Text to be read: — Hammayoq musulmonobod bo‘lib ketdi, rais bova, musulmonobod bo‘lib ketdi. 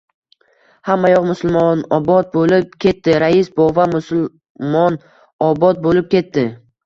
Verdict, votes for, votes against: rejected, 0, 2